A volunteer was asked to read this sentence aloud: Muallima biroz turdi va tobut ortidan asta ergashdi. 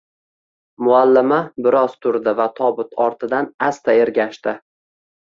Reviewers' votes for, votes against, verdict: 1, 2, rejected